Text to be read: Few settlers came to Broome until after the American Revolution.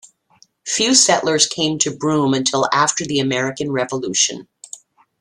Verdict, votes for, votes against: accepted, 2, 0